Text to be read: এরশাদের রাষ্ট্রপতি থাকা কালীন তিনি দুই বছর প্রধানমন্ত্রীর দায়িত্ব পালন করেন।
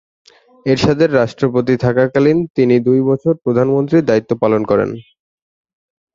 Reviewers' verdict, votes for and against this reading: accepted, 17, 1